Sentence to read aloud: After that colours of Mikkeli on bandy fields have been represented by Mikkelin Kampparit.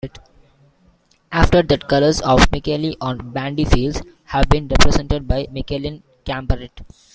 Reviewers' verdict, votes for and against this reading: rejected, 1, 2